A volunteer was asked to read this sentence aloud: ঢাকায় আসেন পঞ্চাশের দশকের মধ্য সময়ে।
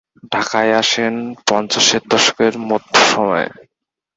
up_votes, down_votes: 2, 0